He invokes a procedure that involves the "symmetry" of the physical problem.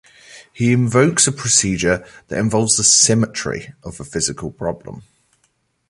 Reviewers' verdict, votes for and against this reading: accepted, 2, 0